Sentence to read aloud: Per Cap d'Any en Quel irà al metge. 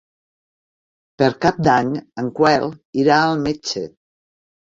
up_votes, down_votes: 0, 3